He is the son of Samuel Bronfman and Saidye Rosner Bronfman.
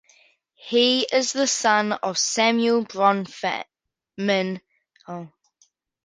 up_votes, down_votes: 0, 2